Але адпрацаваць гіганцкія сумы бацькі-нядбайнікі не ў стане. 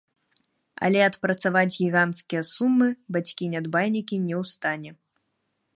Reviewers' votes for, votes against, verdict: 0, 2, rejected